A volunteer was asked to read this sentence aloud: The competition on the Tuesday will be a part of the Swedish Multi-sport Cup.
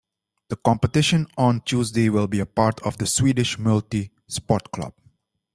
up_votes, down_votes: 0, 2